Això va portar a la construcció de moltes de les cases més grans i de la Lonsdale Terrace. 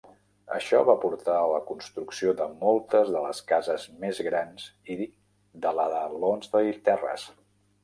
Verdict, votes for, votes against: rejected, 1, 2